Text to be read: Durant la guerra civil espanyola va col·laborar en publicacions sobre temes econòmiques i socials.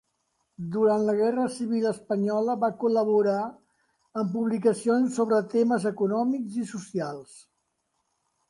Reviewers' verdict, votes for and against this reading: rejected, 0, 2